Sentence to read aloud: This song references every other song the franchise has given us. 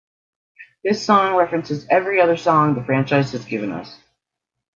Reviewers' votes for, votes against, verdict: 2, 0, accepted